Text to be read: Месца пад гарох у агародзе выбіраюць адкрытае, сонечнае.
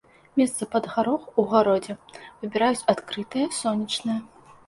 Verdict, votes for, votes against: accepted, 2, 0